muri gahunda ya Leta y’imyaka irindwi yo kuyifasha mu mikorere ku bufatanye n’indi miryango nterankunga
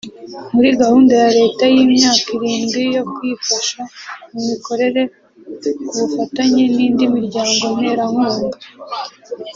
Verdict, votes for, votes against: accepted, 2, 0